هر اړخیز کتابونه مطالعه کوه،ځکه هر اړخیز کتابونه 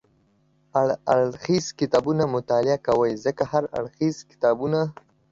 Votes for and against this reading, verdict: 0, 2, rejected